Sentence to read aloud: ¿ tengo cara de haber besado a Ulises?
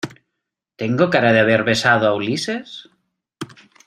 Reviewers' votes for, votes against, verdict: 2, 0, accepted